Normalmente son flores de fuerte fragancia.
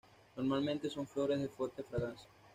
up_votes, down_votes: 1, 2